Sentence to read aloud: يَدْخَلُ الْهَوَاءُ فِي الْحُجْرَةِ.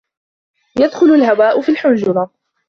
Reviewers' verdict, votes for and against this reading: rejected, 1, 2